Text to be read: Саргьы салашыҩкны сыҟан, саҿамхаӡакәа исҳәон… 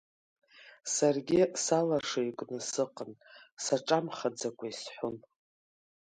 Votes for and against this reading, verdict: 3, 1, accepted